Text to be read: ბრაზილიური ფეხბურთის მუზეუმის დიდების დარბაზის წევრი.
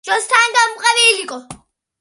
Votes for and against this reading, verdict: 1, 2, rejected